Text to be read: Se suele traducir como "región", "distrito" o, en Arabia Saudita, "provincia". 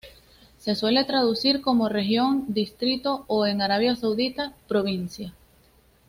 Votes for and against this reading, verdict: 2, 0, accepted